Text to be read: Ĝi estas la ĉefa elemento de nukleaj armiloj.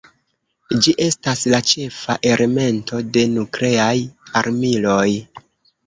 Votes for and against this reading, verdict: 2, 3, rejected